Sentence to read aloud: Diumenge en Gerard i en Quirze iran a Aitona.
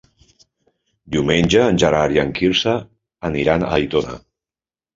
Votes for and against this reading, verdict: 0, 3, rejected